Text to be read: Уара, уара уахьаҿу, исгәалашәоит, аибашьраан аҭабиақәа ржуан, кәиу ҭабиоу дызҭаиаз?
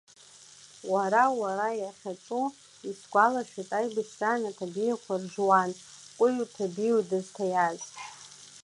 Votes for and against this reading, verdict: 2, 1, accepted